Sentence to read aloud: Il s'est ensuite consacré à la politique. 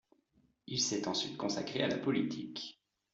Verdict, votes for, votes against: accepted, 2, 0